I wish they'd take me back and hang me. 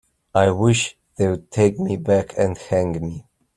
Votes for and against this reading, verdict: 2, 1, accepted